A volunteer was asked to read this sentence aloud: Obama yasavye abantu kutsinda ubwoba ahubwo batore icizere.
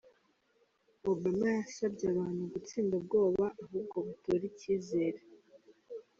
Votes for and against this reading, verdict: 2, 1, accepted